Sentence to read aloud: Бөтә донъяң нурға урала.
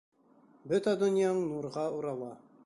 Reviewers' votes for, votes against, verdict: 2, 0, accepted